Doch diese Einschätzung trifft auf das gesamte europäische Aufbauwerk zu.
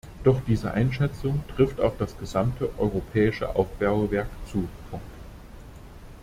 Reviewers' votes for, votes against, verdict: 0, 2, rejected